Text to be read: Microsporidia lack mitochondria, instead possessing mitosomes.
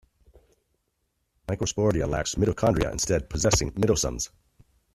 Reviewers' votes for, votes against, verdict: 2, 0, accepted